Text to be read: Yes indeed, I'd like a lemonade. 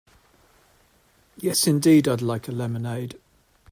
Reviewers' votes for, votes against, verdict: 2, 0, accepted